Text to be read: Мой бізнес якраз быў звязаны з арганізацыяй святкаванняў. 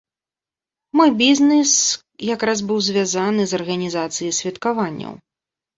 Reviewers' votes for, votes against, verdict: 0, 2, rejected